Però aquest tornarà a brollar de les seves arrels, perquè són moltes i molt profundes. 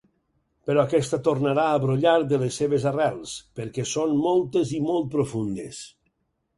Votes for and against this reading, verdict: 2, 4, rejected